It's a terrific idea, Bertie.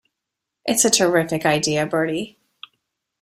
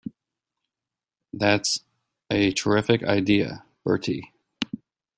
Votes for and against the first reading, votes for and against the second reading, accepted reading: 2, 0, 0, 2, first